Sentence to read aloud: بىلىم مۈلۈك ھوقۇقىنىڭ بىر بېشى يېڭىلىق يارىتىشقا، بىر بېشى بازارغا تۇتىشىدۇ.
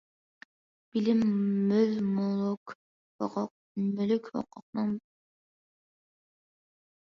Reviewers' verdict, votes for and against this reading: rejected, 0, 2